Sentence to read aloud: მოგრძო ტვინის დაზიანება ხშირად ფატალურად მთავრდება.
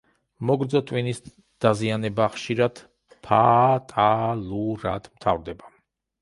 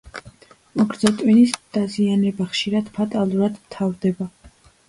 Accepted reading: second